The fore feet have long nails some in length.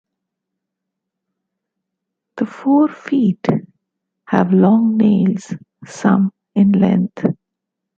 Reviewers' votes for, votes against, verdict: 0, 2, rejected